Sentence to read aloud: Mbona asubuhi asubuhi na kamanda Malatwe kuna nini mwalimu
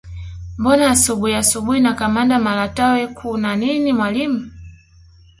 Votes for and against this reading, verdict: 3, 1, accepted